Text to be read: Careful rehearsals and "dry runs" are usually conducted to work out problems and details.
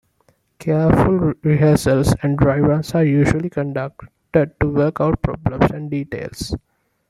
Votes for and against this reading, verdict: 2, 0, accepted